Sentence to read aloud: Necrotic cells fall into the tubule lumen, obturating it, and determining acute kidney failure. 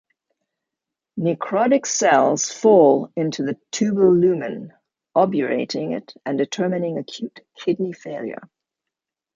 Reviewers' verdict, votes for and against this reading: rejected, 0, 2